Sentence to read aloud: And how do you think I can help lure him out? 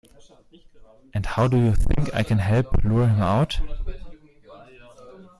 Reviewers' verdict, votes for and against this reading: accepted, 2, 0